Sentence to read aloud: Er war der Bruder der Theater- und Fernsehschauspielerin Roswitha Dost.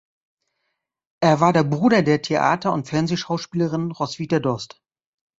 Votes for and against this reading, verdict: 2, 0, accepted